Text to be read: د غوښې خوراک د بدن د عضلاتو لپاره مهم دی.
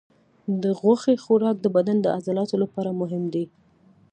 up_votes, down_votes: 2, 0